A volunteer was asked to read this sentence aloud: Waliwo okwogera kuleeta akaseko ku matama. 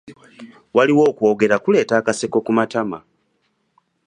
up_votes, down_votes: 3, 0